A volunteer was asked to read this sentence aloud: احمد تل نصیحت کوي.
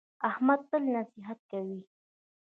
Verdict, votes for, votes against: rejected, 0, 2